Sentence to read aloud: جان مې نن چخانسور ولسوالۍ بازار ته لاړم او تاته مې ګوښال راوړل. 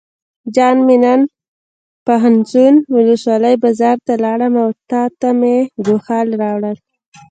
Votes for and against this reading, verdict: 1, 2, rejected